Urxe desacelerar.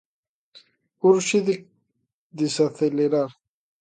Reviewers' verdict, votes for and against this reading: rejected, 0, 2